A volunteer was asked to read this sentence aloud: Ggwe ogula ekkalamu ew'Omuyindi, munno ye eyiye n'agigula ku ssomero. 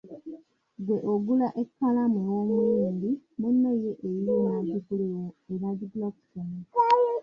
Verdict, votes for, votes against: rejected, 0, 2